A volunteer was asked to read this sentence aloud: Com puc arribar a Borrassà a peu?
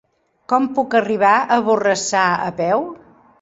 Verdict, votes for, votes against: accepted, 4, 0